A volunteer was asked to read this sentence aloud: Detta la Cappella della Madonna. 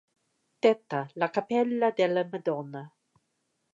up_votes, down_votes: 2, 1